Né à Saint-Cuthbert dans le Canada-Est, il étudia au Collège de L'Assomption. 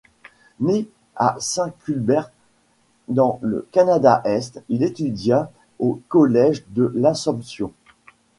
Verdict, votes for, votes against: accepted, 2, 1